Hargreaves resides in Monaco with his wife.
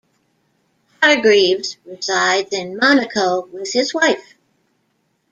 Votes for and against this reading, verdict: 1, 2, rejected